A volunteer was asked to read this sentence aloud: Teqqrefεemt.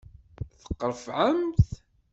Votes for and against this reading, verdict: 2, 0, accepted